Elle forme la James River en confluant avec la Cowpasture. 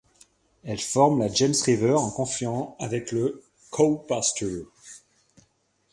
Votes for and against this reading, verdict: 2, 1, accepted